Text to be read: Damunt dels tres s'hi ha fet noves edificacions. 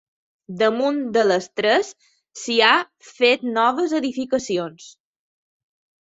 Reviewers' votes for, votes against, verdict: 1, 2, rejected